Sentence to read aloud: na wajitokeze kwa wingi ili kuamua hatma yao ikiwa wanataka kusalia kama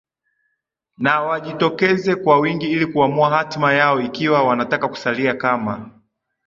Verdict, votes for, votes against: rejected, 1, 2